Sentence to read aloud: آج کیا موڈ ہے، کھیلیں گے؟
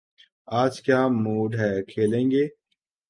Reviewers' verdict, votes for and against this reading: accepted, 2, 0